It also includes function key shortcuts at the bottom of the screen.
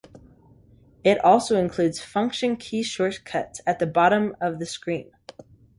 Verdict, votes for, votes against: accepted, 2, 0